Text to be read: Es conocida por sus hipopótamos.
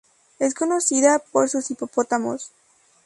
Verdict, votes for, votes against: accepted, 2, 0